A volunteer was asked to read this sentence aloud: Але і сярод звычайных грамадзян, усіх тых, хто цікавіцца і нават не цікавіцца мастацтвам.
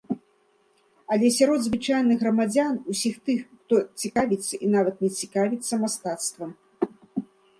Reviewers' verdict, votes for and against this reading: rejected, 0, 2